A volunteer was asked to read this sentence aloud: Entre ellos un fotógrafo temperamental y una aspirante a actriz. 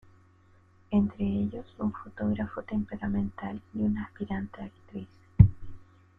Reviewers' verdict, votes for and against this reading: accepted, 2, 1